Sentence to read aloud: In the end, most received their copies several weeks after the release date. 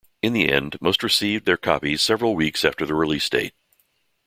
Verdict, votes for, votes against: accepted, 2, 0